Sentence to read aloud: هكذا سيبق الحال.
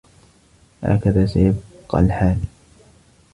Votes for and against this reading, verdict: 1, 2, rejected